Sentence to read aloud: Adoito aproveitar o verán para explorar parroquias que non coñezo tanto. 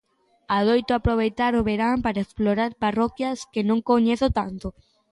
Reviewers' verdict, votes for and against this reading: accepted, 2, 0